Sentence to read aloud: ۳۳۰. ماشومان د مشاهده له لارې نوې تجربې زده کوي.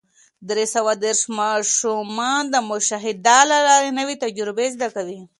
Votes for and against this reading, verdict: 0, 2, rejected